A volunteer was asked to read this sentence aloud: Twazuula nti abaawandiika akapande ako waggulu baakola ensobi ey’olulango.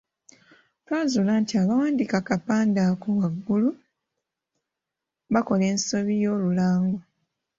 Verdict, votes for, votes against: rejected, 1, 2